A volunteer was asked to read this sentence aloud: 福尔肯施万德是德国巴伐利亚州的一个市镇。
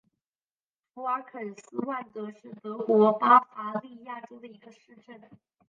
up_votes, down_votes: 4, 2